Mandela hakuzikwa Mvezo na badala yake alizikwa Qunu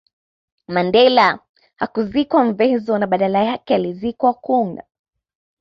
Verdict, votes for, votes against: accepted, 2, 0